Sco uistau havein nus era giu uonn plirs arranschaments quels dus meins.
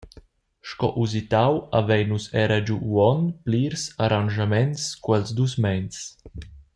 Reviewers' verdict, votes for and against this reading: accepted, 2, 1